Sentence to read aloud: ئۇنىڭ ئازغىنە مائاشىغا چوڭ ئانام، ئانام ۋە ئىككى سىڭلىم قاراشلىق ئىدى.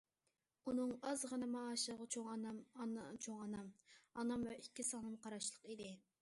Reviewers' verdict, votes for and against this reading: rejected, 0, 2